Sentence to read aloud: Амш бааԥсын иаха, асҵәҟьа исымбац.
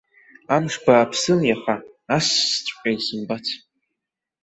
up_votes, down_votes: 1, 2